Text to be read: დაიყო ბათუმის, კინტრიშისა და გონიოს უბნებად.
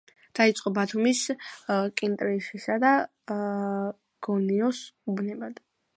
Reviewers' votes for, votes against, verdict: 2, 1, accepted